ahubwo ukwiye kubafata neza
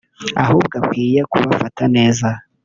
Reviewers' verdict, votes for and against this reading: rejected, 1, 2